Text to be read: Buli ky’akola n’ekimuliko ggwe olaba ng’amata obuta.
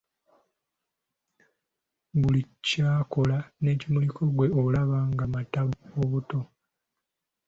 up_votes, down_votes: 0, 2